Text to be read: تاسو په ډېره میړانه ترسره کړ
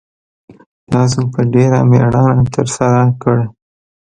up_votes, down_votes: 1, 2